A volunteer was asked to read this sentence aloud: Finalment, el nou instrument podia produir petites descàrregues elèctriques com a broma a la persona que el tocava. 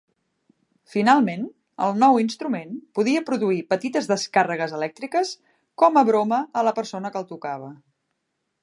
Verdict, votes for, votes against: accepted, 3, 0